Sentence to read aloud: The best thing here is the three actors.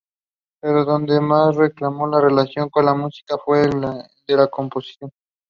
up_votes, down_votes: 0, 2